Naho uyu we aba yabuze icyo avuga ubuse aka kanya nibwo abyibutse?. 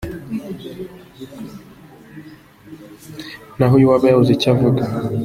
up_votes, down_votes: 0, 2